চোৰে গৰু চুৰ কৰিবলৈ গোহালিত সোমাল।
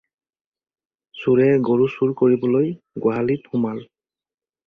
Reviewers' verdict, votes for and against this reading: accepted, 4, 0